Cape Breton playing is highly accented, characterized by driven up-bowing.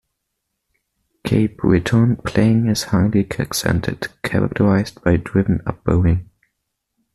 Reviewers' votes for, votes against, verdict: 2, 1, accepted